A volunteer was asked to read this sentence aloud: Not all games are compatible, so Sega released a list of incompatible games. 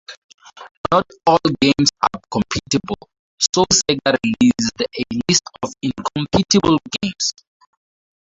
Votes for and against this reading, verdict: 0, 4, rejected